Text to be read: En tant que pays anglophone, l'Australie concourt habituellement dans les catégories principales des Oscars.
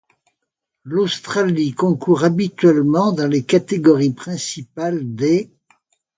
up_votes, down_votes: 1, 2